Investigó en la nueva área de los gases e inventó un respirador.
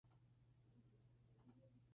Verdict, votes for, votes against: rejected, 0, 2